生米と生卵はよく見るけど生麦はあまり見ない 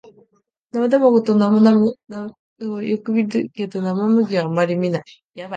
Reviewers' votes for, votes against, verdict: 0, 2, rejected